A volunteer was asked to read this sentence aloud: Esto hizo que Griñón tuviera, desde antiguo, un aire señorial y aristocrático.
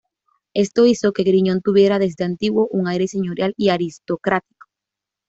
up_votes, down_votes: 2, 0